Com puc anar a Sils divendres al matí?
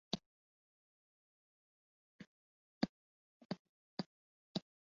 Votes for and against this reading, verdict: 0, 2, rejected